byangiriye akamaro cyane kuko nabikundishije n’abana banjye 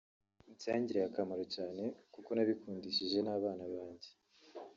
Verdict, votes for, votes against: rejected, 1, 2